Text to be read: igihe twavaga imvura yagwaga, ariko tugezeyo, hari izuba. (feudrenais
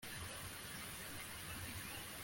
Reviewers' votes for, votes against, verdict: 0, 2, rejected